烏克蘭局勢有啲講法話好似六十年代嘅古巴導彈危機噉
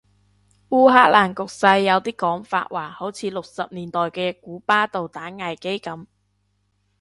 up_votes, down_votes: 2, 0